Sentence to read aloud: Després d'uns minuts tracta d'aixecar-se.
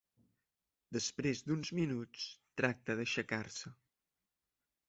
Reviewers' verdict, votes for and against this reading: accepted, 4, 0